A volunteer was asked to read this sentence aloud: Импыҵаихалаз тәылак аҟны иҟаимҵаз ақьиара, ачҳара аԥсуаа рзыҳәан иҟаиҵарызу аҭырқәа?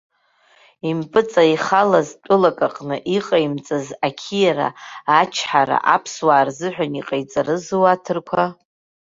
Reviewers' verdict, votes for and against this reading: accepted, 2, 0